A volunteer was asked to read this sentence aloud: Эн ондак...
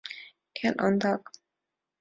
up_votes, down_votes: 2, 0